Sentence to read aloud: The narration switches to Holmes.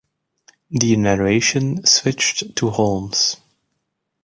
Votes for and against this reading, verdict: 1, 2, rejected